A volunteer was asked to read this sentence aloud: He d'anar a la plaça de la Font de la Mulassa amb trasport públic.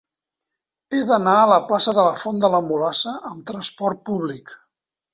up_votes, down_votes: 3, 1